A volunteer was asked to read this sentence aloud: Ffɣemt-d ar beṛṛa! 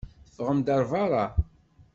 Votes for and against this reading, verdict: 0, 2, rejected